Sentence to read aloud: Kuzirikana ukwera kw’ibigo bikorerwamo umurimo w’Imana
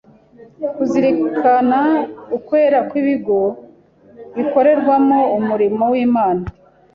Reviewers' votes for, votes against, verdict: 2, 0, accepted